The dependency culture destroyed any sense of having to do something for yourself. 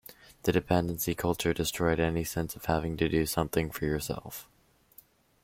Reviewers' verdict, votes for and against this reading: accepted, 2, 0